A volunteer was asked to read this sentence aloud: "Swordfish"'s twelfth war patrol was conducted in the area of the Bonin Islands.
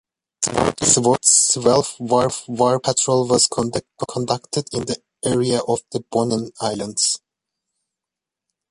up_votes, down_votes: 0, 2